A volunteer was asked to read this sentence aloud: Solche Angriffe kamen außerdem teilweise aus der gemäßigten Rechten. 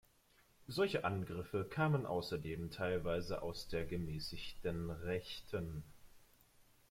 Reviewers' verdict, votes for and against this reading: accepted, 2, 0